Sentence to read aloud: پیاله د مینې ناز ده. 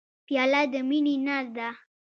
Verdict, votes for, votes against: rejected, 1, 2